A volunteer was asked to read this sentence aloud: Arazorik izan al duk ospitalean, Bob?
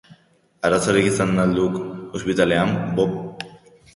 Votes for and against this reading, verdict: 6, 2, accepted